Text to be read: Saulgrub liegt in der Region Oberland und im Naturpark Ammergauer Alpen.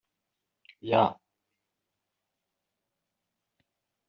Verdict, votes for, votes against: rejected, 0, 2